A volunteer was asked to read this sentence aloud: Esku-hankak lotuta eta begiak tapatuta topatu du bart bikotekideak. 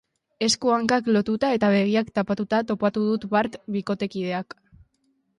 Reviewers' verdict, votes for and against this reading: rejected, 1, 2